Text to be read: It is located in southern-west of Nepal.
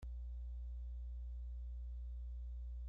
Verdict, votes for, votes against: rejected, 0, 2